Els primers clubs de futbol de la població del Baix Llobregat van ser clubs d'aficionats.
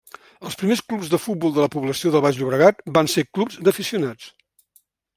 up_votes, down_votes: 2, 1